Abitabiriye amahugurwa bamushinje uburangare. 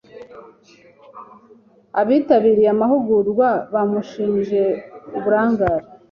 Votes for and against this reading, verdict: 2, 0, accepted